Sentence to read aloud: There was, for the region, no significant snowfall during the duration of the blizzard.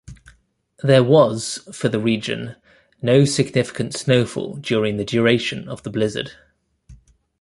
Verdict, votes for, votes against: accepted, 2, 0